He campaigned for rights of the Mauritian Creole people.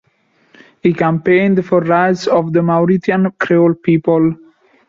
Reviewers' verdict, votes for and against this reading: accepted, 2, 1